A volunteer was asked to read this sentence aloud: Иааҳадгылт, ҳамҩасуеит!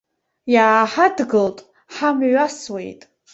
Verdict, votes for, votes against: accepted, 2, 0